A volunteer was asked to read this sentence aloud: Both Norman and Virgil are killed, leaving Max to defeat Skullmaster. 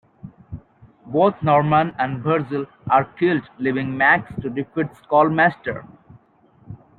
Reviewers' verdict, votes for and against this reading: accepted, 2, 0